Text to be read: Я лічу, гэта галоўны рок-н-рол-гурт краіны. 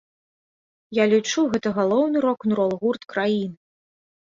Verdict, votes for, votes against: accepted, 2, 0